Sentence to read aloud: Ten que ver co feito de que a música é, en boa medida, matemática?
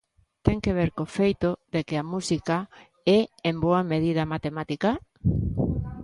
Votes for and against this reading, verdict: 2, 0, accepted